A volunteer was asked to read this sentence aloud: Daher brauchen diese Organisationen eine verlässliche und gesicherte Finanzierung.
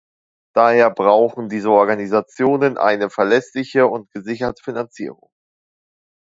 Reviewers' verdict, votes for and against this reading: accepted, 2, 0